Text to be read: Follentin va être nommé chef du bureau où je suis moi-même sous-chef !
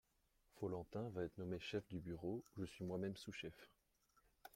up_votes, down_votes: 2, 1